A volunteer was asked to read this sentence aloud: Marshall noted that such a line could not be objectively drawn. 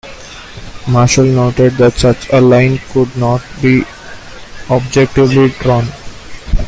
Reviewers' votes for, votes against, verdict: 2, 0, accepted